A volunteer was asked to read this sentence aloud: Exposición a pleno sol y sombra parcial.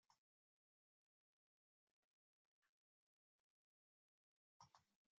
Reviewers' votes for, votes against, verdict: 0, 2, rejected